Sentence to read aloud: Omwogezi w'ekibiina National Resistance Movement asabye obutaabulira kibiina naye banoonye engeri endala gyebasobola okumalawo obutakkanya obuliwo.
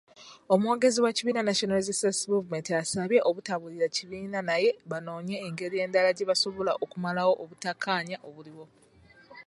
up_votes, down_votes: 2, 0